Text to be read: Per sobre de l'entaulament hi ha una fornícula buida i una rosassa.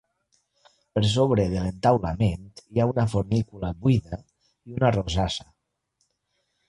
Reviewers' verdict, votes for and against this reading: accepted, 3, 0